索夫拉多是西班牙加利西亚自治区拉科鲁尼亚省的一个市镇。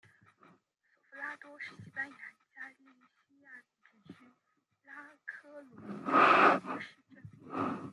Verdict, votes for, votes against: rejected, 0, 2